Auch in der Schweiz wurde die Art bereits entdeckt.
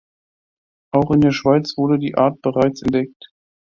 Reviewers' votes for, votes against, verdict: 3, 0, accepted